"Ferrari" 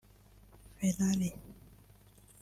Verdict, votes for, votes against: rejected, 1, 2